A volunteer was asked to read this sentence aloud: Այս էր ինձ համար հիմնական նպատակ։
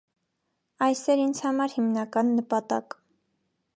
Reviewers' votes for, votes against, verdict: 2, 0, accepted